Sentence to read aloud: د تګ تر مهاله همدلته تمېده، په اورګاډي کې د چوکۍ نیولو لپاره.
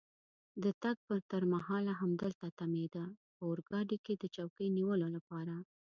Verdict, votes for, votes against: accepted, 2, 0